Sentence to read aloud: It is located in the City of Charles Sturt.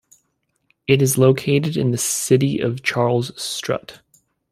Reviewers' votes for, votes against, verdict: 0, 2, rejected